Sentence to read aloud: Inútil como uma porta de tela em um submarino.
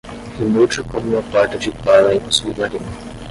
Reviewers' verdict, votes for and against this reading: rejected, 5, 5